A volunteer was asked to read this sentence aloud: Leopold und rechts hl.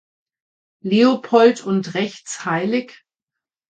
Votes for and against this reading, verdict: 1, 2, rejected